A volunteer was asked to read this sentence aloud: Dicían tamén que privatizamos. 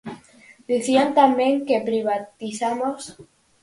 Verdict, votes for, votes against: rejected, 2, 2